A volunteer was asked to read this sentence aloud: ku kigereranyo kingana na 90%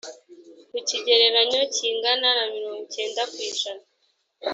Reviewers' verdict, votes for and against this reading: rejected, 0, 2